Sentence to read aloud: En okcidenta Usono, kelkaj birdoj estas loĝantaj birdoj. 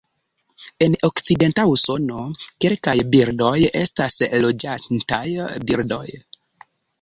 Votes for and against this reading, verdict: 0, 2, rejected